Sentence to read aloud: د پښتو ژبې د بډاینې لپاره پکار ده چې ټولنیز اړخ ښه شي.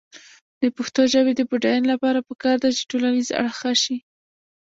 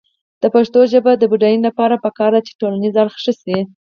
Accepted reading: second